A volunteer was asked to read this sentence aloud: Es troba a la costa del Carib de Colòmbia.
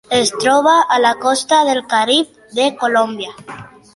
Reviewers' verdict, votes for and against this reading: accepted, 2, 0